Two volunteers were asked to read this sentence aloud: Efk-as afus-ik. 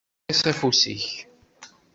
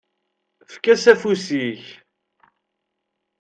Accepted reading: second